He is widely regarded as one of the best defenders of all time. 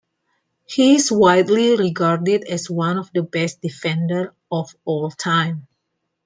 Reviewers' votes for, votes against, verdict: 1, 2, rejected